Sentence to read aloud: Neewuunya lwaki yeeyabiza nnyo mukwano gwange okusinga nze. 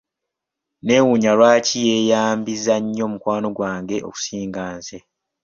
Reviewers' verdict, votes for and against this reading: rejected, 1, 2